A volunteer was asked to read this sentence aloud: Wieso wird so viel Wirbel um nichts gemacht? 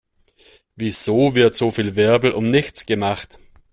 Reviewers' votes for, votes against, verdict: 2, 0, accepted